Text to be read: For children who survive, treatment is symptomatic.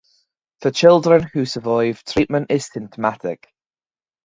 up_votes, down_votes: 0, 2